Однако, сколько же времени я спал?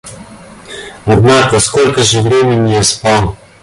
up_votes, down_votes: 2, 1